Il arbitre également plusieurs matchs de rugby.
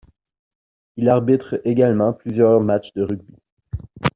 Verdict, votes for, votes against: accepted, 2, 0